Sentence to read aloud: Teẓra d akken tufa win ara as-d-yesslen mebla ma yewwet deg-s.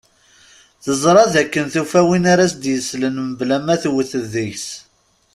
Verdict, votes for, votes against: rejected, 1, 2